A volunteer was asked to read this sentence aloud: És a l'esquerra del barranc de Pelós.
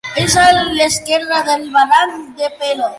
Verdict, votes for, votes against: rejected, 0, 2